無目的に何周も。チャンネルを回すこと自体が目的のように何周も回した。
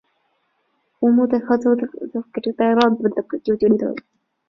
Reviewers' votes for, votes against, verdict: 0, 2, rejected